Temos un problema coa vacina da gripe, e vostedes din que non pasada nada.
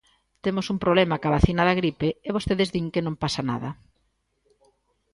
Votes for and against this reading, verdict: 1, 2, rejected